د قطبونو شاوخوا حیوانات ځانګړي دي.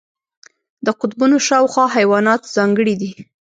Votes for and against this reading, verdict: 1, 2, rejected